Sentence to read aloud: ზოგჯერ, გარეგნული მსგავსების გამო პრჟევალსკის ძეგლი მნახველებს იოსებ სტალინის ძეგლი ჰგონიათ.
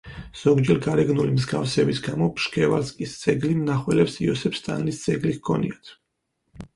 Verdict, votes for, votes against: rejected, 2, 4